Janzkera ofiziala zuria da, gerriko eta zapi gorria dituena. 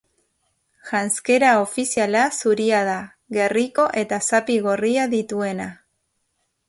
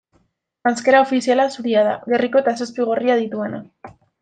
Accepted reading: first